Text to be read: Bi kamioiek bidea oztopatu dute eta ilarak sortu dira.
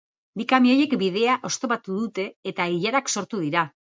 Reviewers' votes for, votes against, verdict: 2, 0, accepted